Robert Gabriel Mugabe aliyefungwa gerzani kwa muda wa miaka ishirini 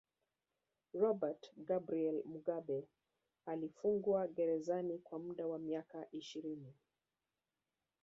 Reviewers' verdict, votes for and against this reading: rejected, 7, 9